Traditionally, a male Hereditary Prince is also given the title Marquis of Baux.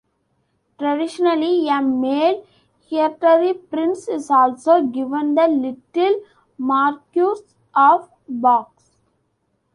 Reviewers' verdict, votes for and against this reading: rejected, 0, 2